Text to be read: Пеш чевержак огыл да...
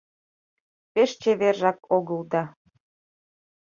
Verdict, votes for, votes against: accepted, 2, 0